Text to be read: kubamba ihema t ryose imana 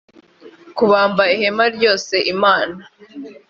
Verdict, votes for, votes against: rejected, 0, 2